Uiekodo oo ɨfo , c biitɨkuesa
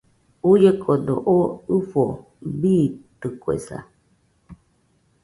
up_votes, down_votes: 0, 2